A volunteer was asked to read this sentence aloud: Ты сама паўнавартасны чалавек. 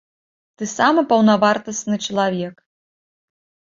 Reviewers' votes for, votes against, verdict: 0, 2, rejected